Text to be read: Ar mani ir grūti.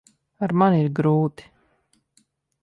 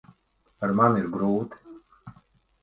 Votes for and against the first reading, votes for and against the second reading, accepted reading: 2, 0, 1, 2, first